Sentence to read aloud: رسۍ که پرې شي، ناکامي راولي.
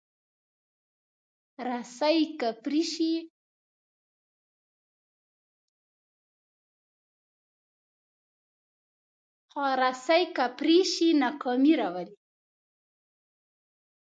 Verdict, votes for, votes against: rejected, 1, 2